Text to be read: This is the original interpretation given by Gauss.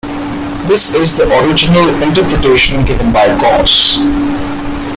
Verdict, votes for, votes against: rejected, 0, 2